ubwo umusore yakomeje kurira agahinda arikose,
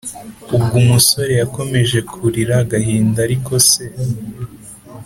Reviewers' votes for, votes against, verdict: 2, 0, accepted